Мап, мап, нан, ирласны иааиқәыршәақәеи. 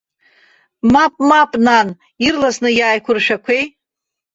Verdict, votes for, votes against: accepted, 2, 0